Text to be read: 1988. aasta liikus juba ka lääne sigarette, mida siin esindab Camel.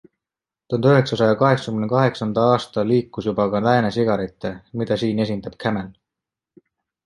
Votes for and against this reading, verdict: 0, 2, rejected